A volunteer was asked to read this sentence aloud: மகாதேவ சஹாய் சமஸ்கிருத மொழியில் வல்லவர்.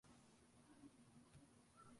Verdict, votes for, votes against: rejected, 1, 2